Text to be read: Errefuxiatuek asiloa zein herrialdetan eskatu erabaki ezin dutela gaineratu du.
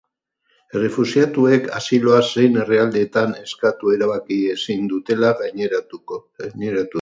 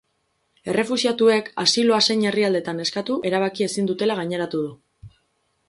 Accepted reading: second